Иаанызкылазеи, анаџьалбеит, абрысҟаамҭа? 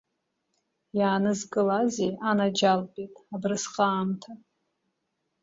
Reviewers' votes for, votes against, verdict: 0, 2, rejected